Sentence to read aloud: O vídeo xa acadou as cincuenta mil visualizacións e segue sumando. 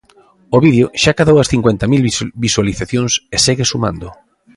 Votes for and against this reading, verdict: 0, 2, rejected